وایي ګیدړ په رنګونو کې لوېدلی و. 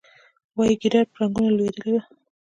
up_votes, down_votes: 3, 1